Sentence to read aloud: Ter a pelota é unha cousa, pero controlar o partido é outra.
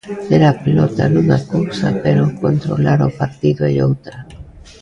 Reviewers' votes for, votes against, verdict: 0, 2, rejected